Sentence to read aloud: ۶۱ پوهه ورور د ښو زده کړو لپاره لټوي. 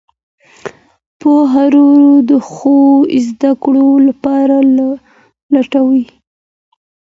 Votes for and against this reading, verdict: 0, 2, rejected